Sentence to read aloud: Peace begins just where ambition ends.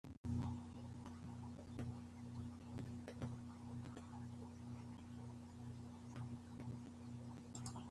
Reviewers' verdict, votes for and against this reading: rejected, 0, 2